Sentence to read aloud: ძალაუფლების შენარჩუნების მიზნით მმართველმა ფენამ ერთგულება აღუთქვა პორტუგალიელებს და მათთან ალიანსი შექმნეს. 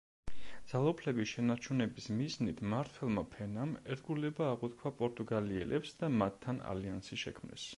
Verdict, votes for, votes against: accepted, 2, 0